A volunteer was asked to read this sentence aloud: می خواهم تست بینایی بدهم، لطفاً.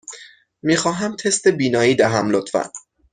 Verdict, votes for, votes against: rejected, 3, 6